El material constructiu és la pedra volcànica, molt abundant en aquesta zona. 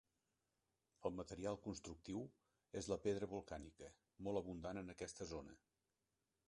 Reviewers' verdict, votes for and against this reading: rejected, 0, 2